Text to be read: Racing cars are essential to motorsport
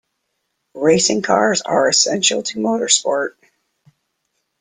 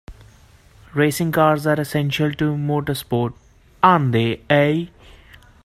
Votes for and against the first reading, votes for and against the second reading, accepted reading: 2, 0, 1, 2, first